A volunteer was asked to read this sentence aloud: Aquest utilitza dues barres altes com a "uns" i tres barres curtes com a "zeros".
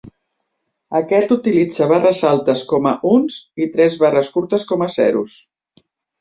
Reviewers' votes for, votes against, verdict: 0, 2, rejected